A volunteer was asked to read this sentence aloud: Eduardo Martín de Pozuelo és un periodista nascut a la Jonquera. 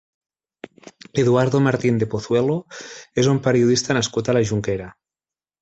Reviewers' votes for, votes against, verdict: 3, 0, accepted